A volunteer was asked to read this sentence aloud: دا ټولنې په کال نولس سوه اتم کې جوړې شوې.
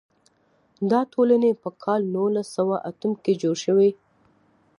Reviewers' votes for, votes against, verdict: 2, 0, accepted